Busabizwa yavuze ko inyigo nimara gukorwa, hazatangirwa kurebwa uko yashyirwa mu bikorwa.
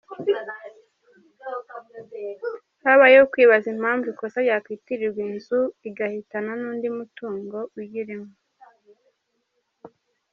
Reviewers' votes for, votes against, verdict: 0, 2, rejected